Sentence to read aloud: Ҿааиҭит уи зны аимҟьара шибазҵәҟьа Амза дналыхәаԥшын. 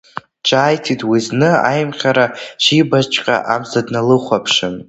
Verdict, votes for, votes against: rejected, 0, 2